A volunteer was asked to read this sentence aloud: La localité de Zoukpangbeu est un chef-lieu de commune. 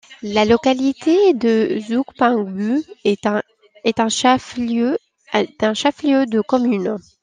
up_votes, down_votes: 0, 2